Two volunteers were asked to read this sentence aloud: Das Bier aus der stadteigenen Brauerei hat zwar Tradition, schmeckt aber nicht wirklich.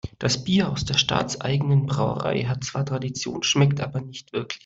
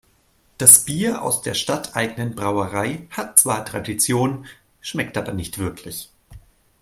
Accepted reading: second